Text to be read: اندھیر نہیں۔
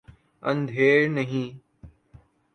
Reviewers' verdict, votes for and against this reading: accepted, 2, 0